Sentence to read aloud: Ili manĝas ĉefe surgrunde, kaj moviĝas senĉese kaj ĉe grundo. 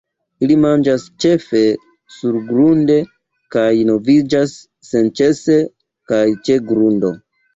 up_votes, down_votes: 2, 1